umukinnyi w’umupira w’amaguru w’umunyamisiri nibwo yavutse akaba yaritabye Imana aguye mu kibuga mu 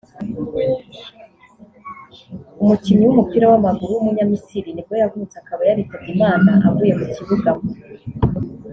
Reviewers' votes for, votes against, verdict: 0, 2, rejected